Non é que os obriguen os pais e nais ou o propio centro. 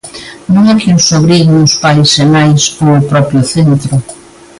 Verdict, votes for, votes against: accepted, 2, 0